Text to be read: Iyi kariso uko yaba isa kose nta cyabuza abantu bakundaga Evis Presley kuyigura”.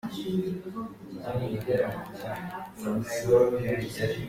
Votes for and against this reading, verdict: 0, 3, rejected